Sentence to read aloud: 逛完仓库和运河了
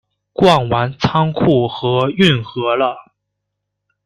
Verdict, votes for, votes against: accepted, 2, 0